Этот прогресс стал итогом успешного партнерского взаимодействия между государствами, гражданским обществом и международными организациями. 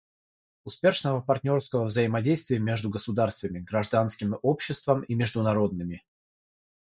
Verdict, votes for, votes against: rejected, 3, 3